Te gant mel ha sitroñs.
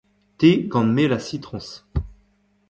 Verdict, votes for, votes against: accepted, 2, 1